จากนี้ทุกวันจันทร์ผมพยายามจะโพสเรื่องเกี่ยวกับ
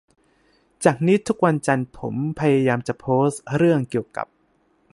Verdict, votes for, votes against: rejected, 2, 2